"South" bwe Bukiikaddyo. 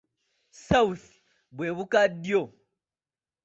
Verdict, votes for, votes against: rejected, 1, 3